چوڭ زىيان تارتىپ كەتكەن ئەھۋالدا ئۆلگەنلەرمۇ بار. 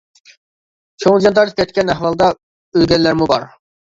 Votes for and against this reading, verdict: 1, 2, rejected